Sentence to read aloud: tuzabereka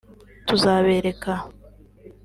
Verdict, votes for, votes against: accepted, 2, 0